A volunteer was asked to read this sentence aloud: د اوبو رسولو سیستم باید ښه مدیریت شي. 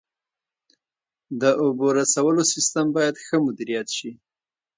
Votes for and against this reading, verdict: 2, 1, accepted